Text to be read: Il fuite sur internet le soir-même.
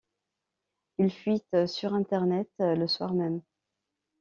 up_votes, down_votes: 2, 0